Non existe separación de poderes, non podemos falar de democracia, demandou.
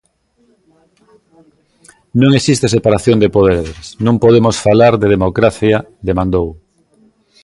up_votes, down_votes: 0, 2